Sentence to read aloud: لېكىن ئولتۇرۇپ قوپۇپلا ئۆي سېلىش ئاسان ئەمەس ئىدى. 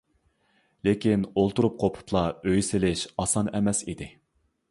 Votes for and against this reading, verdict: 2, 0, accepted